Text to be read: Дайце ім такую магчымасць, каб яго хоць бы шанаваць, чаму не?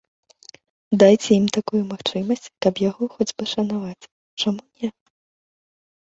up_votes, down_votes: 2, 1